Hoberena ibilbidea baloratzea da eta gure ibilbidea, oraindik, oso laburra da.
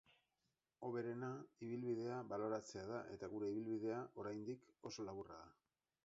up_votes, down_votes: 2, 4